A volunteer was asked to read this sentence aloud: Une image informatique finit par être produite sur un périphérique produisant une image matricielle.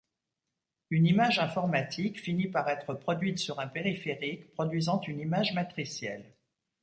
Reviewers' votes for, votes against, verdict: 2, 1, accepted